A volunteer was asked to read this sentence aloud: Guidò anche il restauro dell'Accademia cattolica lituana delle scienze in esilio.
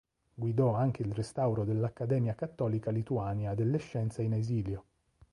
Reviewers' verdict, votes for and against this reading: rejected, 2, 3